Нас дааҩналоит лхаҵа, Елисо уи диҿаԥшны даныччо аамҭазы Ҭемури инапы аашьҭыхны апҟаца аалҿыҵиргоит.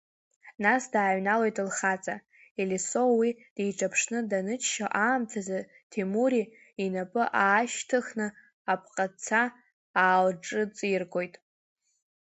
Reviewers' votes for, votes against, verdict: 2, 0, accepted